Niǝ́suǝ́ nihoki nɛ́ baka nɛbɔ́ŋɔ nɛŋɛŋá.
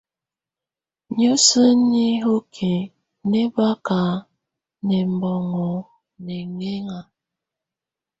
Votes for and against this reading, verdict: 2, 1, accepted